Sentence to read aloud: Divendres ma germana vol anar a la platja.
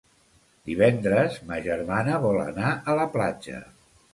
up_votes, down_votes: 2, 0